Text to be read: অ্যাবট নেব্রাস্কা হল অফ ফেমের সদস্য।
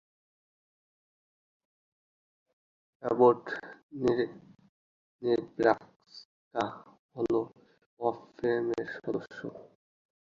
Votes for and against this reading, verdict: 0, 2, rejected